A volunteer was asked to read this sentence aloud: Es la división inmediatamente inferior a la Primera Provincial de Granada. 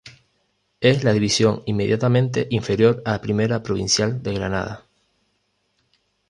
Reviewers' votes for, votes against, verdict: 2, 3, rejected